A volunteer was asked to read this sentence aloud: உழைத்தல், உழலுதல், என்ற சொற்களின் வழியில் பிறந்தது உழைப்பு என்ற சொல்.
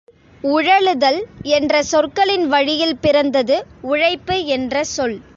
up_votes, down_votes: 1, 2